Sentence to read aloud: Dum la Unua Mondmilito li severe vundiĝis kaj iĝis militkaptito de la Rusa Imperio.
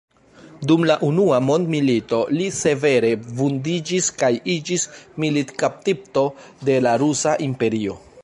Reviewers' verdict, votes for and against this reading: rejected, 1, 2